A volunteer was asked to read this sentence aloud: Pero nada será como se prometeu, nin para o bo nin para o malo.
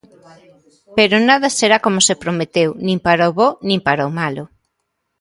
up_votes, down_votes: 2, 0